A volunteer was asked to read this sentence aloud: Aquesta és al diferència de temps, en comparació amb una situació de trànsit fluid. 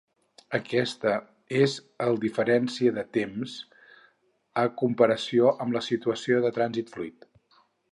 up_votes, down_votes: 0, 4